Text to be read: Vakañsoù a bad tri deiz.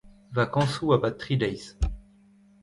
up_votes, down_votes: 0, 2